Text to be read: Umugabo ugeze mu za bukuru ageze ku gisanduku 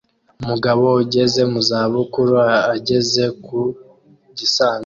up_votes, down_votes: 0, 2